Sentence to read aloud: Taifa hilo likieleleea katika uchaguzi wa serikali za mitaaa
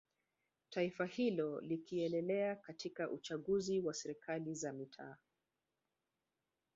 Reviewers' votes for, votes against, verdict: 1, 2, rejected